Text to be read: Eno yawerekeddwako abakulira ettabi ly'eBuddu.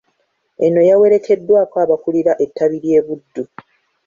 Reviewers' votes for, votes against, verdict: 2, 0, accepted